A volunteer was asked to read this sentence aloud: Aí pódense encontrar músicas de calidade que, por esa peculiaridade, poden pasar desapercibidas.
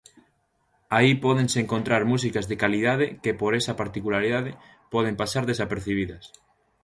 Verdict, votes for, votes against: rejected, 0, 3